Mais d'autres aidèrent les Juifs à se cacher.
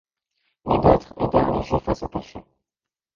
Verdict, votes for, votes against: rejected, 0, 2